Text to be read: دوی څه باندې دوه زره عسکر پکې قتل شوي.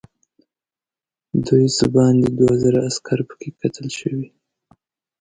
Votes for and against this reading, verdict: 2, 0, accepted